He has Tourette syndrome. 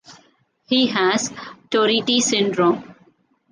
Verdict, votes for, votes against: rejected, 1, 2